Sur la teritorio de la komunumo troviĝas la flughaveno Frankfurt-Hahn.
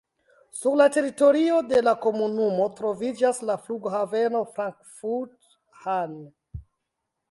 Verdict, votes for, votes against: accepted, 2, 1